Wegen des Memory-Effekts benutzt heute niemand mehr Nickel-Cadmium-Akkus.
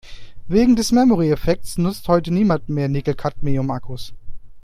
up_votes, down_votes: 1, 2